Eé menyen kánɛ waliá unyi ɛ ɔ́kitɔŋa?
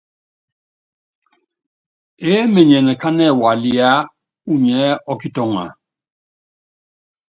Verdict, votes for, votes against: accepted, 2, 0